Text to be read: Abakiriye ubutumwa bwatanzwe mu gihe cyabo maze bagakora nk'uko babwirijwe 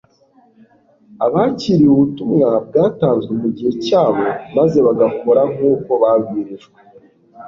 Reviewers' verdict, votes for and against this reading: accepted, 2, 0